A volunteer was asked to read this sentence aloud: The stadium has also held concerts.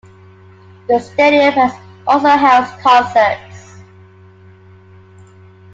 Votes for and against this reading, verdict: 2, 1, accepted